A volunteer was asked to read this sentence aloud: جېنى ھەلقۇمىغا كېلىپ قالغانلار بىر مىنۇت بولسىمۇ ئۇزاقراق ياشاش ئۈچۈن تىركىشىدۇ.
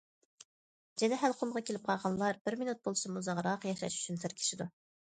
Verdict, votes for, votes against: rejected, 1, 2